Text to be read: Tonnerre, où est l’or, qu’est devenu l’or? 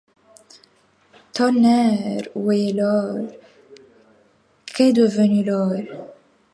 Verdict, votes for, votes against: accepted, 2, 0